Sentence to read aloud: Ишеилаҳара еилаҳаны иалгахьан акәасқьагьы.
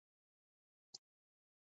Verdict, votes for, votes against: rejected, 1, 2